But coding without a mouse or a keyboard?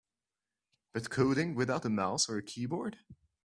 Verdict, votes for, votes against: accepted, 2, 0